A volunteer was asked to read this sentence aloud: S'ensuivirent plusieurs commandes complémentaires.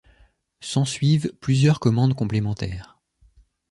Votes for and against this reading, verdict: 0, 2, rejected